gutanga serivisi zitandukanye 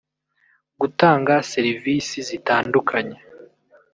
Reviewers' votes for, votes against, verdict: 0, 2, rejected